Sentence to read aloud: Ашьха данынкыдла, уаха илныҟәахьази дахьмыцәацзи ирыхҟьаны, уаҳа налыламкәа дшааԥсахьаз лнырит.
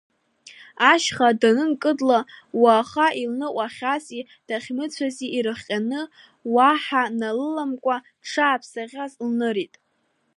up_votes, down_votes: 2, 0